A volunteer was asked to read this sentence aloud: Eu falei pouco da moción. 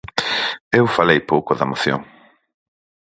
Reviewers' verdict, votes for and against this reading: accepted, 4, 0